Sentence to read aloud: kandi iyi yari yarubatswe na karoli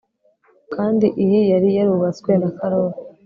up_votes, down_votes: 3, 0